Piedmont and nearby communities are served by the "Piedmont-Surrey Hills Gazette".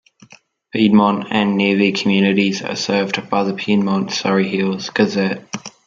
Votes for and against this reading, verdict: 2, 0, accepted